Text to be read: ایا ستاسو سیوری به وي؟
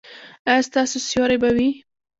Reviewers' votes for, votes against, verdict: 2, 0, accepted